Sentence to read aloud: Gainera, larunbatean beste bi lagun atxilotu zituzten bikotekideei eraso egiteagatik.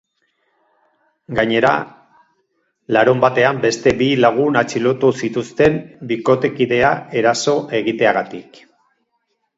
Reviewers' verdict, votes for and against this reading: rejected, 0, 2